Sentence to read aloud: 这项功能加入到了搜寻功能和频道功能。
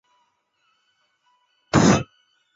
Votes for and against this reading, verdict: 0, 4, rejected